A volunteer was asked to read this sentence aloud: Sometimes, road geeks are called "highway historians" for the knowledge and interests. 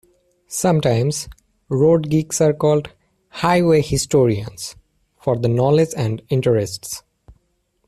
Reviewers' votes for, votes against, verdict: 2, 0, accepted